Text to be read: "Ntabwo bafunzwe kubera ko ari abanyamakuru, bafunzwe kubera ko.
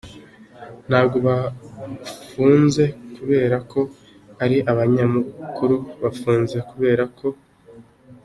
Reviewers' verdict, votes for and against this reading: accepted, 2, 1